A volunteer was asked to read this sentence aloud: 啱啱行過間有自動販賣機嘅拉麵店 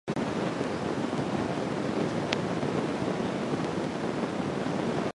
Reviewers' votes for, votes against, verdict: 0, 2, rejected